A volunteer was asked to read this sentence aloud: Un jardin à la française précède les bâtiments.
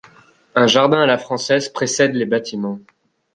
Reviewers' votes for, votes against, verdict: 2, 0, accepted